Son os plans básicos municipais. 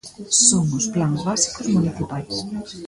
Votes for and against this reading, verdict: 0, 2, rejected